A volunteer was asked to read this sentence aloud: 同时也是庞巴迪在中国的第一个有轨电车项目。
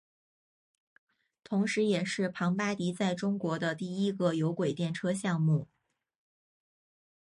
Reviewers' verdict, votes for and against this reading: rejected, 0, 2